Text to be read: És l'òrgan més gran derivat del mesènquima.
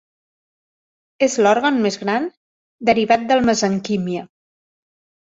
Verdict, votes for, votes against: rejected, 1, 2